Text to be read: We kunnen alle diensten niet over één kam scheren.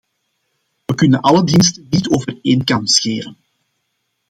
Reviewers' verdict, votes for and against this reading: rejected, 1, 2